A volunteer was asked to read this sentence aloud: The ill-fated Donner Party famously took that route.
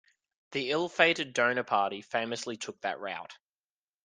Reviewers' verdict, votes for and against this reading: rejected, 0, 2